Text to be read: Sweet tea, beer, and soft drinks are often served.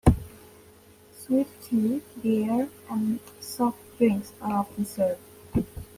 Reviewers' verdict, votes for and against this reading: accepted, 2, 0